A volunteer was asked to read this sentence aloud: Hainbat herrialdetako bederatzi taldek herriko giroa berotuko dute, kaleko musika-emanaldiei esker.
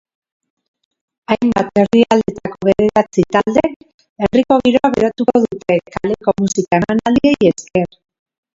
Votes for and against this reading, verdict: 0, 2, rejected